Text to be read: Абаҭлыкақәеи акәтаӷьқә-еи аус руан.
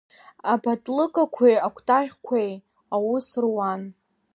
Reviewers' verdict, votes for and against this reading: rejected, 0, 2